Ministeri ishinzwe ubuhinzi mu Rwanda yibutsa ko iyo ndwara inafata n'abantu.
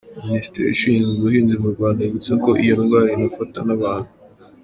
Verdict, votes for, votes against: accepted, 3, 0